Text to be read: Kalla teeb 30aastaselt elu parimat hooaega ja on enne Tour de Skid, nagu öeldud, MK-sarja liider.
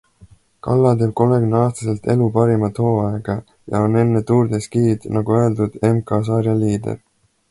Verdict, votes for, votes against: rejected, 0, 2